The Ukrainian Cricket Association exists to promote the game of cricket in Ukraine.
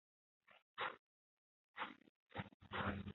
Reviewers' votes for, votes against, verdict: 0, 2, rejected